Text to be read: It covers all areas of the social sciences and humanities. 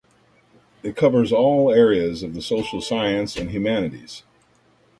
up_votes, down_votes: 1, 2